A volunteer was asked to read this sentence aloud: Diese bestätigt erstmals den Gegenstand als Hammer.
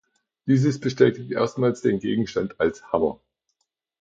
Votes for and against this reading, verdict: 0, 2, rejected